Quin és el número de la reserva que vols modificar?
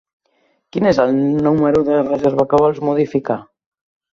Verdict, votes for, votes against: rejected, 0, 2